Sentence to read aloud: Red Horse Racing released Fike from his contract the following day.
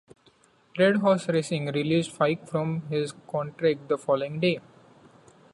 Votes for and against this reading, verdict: 2, 0, accepted